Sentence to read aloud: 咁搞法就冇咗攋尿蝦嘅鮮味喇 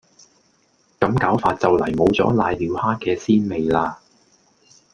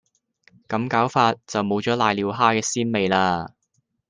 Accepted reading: second